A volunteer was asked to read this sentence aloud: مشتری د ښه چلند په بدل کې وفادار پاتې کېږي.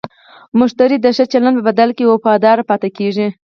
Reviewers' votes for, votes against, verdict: 0, 4, rejected